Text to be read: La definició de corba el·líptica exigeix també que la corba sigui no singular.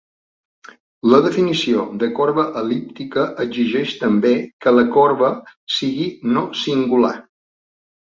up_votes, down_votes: 2, 0